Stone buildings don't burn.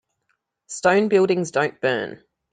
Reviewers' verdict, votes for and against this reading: accepted, 3, 0